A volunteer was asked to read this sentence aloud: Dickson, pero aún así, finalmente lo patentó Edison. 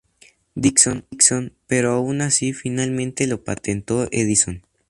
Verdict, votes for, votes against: rejected, 0, 2